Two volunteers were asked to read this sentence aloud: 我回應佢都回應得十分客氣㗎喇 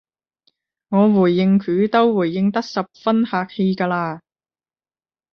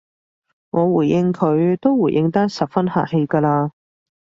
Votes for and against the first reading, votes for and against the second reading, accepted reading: 0, 10, 2, 0, second